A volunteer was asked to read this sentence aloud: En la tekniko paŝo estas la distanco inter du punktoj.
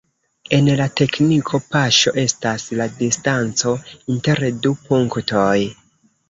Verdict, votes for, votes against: rejected, 0, 2